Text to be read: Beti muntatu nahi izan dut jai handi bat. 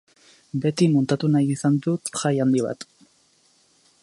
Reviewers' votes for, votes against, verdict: 2, 0, accepted